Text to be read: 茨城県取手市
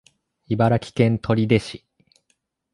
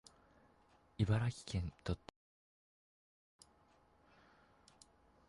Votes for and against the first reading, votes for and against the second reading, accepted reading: 2, 1, 0, 2, first